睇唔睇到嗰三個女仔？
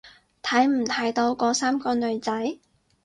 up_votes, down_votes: 2, 2